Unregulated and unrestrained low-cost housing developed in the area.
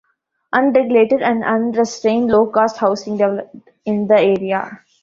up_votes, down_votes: 0, 2